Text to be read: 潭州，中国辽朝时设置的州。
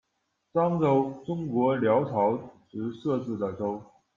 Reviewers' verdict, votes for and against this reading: rejected, 0, 2